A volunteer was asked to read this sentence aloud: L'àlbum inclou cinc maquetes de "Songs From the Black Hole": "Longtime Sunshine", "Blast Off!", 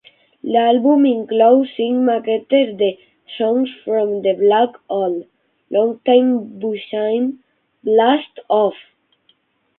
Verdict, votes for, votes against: rejected, 3, 6